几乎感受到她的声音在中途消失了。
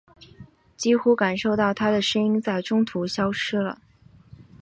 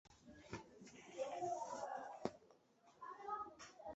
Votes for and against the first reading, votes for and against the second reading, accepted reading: 2, 0, 0, 6, first